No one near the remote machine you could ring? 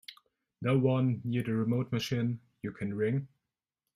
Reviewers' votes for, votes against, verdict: 2, 1, accepted